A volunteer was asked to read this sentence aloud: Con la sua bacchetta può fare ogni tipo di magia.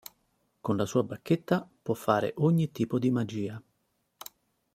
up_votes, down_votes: 2, 0